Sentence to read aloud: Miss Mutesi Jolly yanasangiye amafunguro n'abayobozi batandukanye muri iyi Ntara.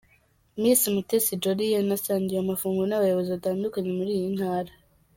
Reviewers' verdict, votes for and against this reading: accepted, 2, 0